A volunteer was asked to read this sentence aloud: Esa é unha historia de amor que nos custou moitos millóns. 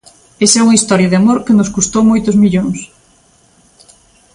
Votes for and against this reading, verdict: 2, 0, accepted